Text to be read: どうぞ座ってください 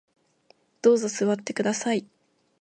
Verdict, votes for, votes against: accepted, 3, 0